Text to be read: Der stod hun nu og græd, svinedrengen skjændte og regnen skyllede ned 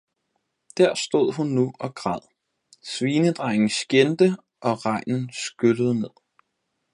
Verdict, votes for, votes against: accepted, 4, 0